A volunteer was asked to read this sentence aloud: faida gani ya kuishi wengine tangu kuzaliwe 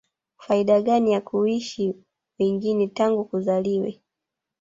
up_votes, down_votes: 2, 0